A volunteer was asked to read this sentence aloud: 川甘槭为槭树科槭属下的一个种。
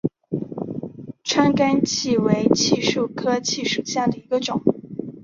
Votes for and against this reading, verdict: 2, 0, accepted